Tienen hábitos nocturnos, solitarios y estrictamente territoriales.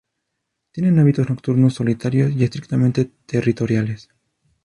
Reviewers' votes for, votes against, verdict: 2, 0, accepted